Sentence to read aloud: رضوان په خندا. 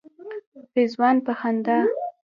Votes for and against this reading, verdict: 0, 2, rejected